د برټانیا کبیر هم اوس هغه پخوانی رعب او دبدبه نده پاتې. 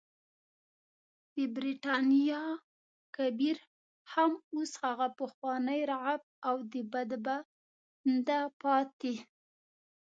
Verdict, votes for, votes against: rejected, 0, 2